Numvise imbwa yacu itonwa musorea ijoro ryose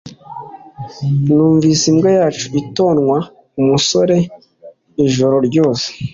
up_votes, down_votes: 2, 0